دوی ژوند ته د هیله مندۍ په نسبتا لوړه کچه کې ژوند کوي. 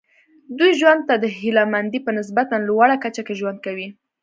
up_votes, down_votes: 2, 0